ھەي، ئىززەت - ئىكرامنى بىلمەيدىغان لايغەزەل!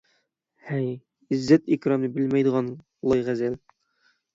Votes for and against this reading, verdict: 6, 0, accepted